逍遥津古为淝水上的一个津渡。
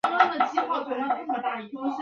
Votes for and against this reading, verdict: 0, 3, rejected